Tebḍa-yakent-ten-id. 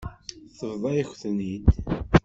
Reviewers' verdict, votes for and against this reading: rejected, 1, 2